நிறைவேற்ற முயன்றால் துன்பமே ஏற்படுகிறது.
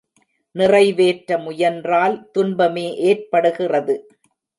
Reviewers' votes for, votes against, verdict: 2, 0, accepted